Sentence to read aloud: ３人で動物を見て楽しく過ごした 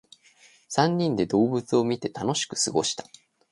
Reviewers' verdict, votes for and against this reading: rejected, 0, 2